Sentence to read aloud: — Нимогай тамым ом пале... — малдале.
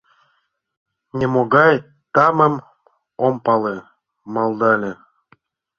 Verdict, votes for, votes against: accepted, 2, 0